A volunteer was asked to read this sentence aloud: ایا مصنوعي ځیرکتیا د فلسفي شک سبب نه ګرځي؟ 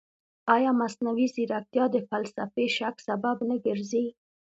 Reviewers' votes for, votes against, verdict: 2, 0, accepted